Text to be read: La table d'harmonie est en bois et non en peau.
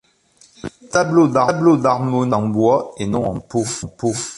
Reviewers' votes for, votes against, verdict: 0, 3, rejected